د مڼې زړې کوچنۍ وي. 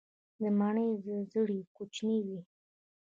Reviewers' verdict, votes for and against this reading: rejected, 0, 2